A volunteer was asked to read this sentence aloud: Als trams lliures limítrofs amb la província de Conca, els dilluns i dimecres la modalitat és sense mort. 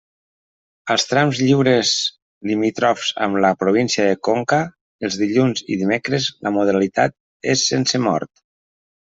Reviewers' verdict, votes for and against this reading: rejected, 1, 2